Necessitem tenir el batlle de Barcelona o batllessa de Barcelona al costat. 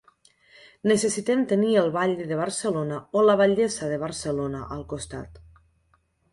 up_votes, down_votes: 0, 2